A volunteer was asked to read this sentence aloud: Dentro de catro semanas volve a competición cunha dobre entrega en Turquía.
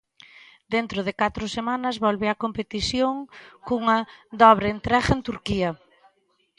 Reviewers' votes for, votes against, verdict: 2, 0, accepted